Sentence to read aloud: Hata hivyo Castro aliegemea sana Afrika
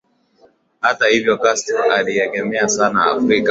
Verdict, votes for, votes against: accepted, 2, 1